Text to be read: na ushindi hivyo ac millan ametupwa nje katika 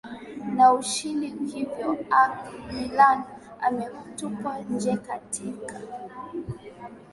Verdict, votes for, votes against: accepted, 4, 0